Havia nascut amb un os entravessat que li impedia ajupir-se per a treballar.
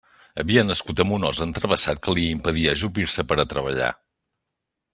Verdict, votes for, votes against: accepted, 3, 0